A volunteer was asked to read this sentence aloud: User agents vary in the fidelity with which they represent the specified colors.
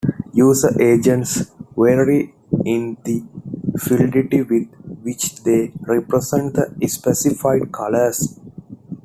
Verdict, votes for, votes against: rejected, 1, 2